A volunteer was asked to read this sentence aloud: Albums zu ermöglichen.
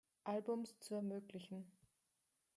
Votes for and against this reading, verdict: 1, 2, rejected